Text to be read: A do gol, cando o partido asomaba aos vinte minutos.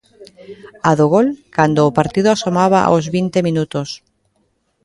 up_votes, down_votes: 0, 2